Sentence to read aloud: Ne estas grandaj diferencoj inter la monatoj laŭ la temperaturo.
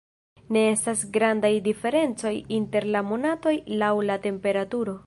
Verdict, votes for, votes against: rejected, 1, 2